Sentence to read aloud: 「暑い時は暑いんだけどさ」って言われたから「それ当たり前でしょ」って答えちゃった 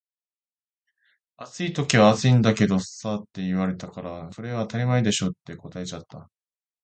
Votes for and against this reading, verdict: 2, 0, accepted